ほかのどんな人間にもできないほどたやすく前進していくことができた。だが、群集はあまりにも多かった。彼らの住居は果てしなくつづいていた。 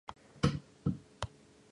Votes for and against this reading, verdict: 0, 3, rejected